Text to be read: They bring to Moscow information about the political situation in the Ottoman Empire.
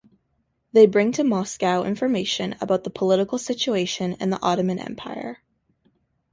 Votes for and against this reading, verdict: 2, 0, accepted